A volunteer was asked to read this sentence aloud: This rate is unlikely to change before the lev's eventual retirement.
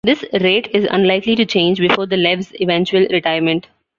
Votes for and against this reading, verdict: 1, 2, rejected